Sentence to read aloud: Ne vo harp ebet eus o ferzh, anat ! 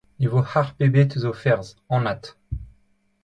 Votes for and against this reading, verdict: 2, 0, accepted